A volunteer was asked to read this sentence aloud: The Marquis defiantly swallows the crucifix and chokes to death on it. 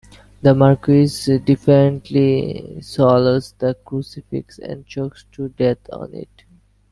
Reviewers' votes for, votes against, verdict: 2, 1, accepted